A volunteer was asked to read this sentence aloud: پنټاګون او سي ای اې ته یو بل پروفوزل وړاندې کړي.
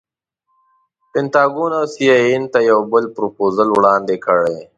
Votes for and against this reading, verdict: 0, 2, rejected